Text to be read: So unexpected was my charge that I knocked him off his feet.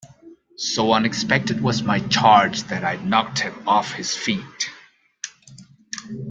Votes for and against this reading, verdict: 2, 0, accepted